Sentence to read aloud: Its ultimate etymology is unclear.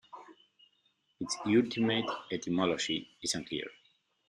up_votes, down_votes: 1, 2